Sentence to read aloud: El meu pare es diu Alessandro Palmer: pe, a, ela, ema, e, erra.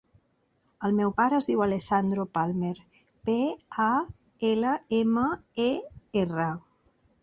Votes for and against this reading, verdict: 3, 0, accepted